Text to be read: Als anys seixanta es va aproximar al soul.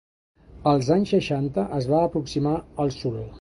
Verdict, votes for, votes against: accepted, 2, 0